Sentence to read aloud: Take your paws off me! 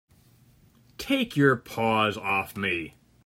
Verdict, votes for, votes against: accepted, 3, 0